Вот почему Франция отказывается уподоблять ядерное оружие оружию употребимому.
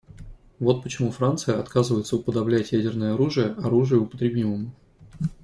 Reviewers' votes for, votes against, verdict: 2, 0, accepted